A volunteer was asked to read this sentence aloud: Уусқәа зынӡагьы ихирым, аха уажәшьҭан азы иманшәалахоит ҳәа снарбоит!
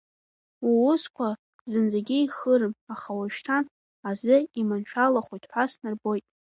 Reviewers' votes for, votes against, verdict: 2, 1, accepted